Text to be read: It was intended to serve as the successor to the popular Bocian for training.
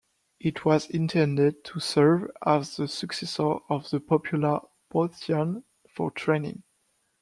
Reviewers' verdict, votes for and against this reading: rejected, 0, 2